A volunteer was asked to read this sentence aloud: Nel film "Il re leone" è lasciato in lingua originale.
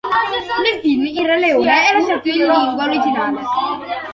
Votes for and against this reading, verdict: 1, 2, rejected